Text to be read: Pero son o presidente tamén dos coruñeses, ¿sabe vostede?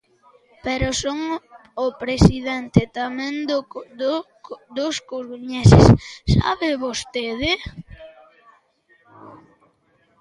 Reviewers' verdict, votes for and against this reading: rejected, 0, 2